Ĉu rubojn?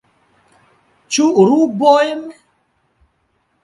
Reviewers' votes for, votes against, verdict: 0, 2, rejected